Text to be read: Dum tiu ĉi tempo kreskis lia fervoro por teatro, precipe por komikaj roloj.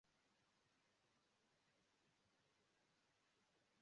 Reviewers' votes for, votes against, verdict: 0, 2, rejected